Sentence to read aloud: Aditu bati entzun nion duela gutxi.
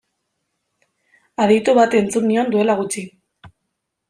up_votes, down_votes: 2, 0